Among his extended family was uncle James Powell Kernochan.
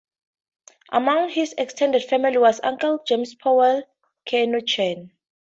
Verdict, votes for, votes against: accepted, 2, 0